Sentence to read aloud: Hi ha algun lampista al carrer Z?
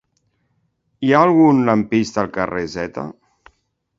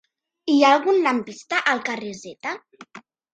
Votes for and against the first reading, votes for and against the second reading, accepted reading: 2, 0, 1, 2, first